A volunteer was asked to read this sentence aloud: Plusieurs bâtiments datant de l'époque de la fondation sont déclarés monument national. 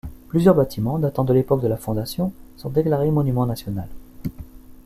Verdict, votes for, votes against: rejected, 1, 2